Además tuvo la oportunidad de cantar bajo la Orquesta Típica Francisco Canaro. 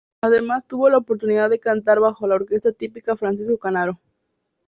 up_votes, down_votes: 2, 0